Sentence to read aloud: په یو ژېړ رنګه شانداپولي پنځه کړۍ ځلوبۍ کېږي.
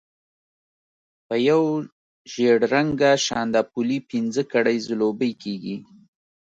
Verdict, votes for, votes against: accepted, 2, 0